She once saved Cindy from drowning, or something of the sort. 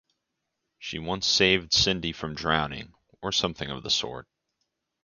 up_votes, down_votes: 4, 0